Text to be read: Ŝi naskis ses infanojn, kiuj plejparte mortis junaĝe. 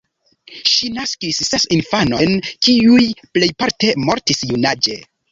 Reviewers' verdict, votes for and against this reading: accepted, 2, 0